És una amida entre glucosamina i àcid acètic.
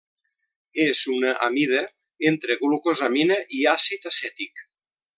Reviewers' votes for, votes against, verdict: 2, 0, accepted